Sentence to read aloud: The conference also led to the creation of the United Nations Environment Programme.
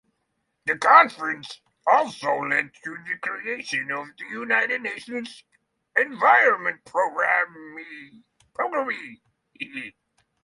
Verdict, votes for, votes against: rejected, 0, 6